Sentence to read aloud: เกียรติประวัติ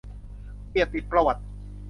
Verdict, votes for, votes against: rejected, 1, 2